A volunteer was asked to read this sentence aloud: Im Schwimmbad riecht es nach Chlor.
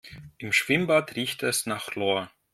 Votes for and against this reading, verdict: 0, 2, rejected